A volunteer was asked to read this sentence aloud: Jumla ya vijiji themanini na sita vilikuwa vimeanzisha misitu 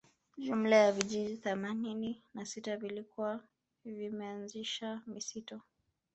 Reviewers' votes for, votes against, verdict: 2, 0, accepted